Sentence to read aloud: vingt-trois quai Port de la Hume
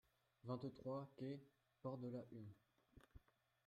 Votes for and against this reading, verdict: 0, 2, rejected